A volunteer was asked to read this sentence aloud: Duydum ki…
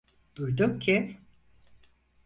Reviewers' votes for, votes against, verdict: 4, 0, accepted